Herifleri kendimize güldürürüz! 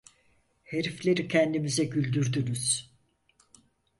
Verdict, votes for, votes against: rejected, 2, 4